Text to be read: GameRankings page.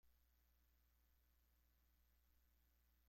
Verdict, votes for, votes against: rejected, 0, 2